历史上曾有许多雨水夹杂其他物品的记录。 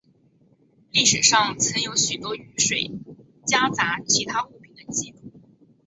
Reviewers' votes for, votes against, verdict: 3, 0, accepted